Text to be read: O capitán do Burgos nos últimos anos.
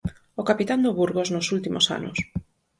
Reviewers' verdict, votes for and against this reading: accepted, 4, 0